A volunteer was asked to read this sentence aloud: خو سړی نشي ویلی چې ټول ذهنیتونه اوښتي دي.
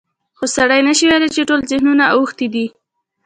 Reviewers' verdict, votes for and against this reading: accepted, 2, 1